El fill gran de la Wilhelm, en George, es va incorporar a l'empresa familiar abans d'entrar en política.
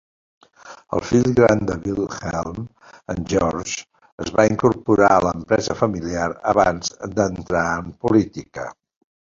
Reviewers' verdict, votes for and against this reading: rejected, 1, 2